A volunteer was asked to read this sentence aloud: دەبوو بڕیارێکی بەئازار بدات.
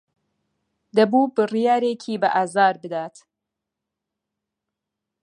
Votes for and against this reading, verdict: 2, 0, accepted